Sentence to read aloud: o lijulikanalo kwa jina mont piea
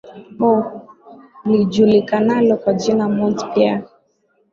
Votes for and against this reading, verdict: 16, 0, accepted